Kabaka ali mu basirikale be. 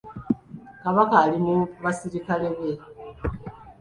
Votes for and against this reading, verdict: 1, 2, rejected